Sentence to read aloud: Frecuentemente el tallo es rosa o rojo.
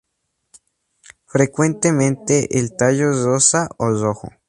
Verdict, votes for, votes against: accepted, 2, 0